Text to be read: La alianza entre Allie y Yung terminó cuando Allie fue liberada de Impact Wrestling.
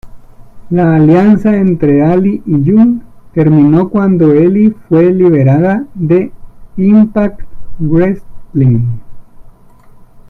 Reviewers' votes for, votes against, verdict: 0, 2, rejected